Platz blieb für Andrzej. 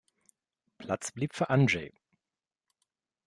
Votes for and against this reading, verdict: 1, 2, rejected